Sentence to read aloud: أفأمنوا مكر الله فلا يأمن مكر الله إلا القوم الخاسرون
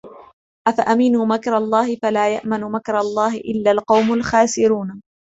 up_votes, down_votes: 2, 0